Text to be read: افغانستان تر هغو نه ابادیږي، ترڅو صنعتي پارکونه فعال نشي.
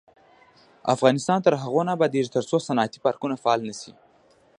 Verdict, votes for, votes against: rejected, 1, 2